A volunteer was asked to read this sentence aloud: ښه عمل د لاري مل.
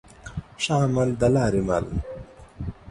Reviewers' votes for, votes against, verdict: 1, 2, rejected